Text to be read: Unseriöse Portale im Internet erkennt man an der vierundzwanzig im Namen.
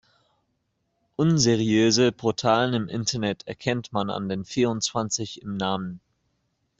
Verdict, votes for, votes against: rejected, 0, 2